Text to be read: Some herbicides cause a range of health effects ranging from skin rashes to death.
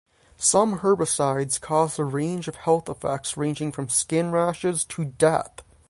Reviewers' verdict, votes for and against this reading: rejected, 0, 3